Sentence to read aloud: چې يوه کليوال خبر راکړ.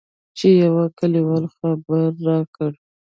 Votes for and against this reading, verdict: 1, 2, rejected